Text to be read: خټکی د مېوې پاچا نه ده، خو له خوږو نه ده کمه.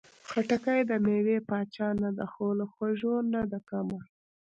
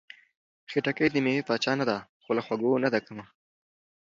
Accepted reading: second